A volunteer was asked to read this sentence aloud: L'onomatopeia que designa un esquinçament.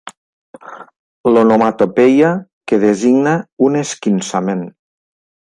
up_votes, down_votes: 2, 0